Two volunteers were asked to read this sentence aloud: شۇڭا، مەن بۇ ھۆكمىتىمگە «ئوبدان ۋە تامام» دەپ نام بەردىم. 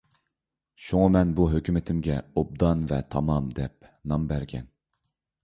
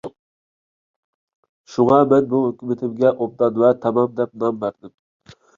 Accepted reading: second